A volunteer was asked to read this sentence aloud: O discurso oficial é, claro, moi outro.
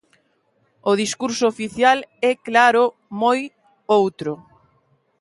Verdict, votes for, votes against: accepted, 2, 1